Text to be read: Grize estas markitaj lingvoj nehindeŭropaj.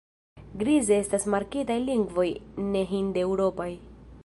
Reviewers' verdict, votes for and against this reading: accepted, 2, 0